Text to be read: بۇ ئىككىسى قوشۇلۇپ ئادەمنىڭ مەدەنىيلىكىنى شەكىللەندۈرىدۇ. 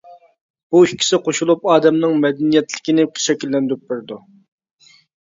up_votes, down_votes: 0, 2